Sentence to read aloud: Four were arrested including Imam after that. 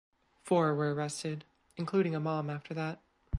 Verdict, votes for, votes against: rejected, 0, 2